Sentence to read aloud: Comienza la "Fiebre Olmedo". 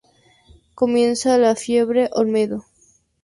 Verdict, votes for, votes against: accepted, 2, 0